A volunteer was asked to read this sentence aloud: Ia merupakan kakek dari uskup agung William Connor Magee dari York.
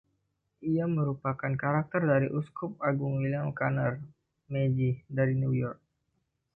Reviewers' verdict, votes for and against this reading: rejected, 1, 2